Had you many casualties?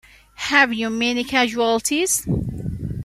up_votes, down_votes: 0, 2